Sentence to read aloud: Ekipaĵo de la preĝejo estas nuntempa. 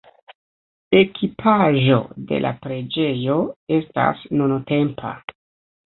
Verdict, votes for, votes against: rejected, 1, 2